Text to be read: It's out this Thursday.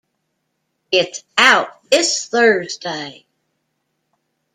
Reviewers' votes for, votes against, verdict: 2, 0, accepted